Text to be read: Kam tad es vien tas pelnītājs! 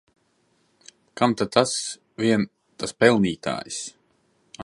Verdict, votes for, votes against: rejected, 1, 2